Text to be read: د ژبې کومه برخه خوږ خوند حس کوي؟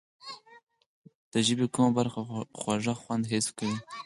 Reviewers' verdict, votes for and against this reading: rejected, 2, 4